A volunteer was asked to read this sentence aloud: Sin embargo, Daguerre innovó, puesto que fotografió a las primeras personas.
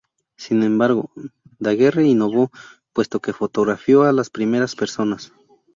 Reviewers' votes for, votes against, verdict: 4, 0, accepted